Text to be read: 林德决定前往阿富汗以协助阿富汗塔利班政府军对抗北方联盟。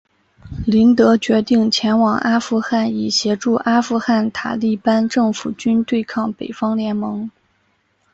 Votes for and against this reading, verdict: 5, 0, accepted